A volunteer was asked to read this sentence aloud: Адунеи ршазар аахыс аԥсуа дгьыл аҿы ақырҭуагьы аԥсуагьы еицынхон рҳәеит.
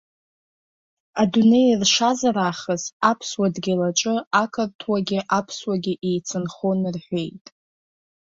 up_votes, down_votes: 2, 0